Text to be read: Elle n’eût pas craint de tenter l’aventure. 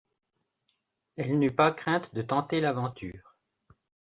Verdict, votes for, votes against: rejected, 0, 2